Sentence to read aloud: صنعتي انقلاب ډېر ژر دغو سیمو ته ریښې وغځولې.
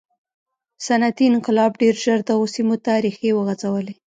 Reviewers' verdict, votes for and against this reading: accepted, 2, 0